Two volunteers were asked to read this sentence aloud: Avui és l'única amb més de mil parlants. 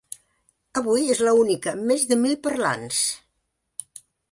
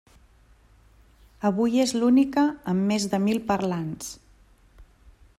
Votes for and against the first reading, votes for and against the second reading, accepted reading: 0, 2, 3, 0, second